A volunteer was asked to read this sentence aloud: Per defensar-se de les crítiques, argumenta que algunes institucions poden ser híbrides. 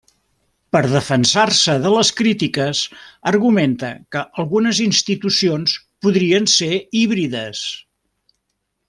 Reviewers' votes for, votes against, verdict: 1, 2, rejected